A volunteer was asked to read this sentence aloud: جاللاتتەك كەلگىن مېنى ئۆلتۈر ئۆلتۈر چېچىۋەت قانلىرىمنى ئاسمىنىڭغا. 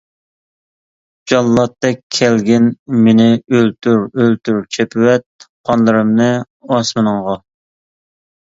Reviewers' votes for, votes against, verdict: 0, 2, rejected